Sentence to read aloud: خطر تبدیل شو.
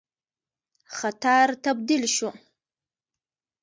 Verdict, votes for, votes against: accepted, 2, 0